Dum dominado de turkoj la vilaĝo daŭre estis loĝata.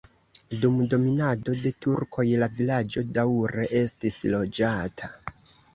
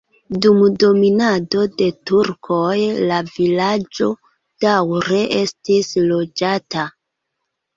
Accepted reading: second